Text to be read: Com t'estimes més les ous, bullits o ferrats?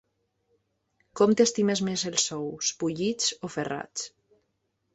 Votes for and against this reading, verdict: 2, 0, accepted